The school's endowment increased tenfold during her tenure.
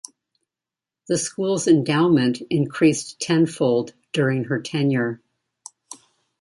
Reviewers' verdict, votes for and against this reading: accepted, 2, 0